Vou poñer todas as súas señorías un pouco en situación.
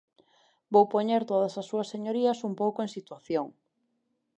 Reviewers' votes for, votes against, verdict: 2, 0, accepted